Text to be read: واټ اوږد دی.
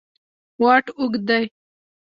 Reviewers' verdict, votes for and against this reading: accepted, 2, 0